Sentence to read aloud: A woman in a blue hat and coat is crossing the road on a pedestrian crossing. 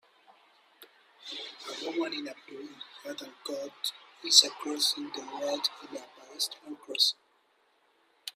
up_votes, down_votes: 1, 2